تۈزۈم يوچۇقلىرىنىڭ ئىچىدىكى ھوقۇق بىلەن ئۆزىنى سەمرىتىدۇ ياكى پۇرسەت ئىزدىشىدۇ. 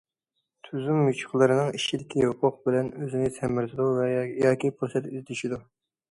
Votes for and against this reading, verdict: 0, 2, rejected